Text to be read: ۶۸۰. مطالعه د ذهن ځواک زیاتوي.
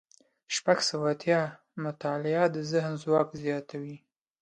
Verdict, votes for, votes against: rejected, 0, 2